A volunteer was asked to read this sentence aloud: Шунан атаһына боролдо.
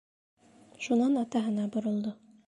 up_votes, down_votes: 3, 0